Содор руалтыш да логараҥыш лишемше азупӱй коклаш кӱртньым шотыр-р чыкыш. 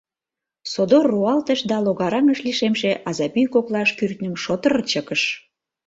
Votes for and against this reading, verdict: 1, 2, rejected